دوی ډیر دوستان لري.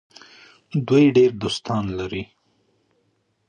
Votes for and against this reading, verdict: 0, 2, rejected